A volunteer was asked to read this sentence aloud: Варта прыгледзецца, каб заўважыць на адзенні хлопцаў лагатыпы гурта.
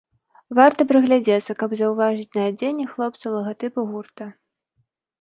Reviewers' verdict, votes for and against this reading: rejected, 1, 2